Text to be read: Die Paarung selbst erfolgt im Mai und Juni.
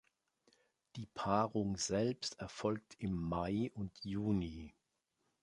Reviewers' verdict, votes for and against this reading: accepted, 2, 0